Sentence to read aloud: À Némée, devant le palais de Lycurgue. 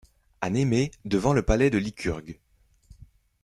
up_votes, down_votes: 2, 0